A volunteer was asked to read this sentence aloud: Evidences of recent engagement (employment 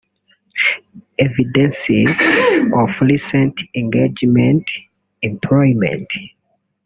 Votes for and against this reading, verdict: 0, 3, rejected